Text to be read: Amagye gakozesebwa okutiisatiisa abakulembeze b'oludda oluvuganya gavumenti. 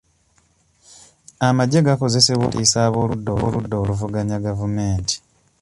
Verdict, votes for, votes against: rejected, 1, 2